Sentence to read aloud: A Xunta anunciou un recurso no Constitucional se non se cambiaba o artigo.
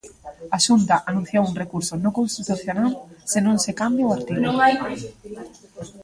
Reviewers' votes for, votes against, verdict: 0, 2, rejected